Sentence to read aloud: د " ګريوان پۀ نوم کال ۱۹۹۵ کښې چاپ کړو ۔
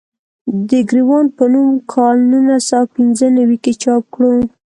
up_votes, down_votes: 0, 2